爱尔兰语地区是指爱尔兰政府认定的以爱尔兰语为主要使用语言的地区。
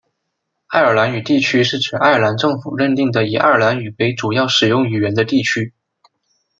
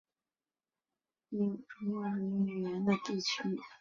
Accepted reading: first